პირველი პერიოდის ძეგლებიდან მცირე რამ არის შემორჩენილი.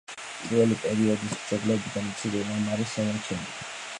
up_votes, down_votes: 1, 2